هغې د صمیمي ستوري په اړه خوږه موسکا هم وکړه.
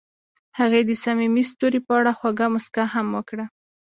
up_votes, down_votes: 2, 0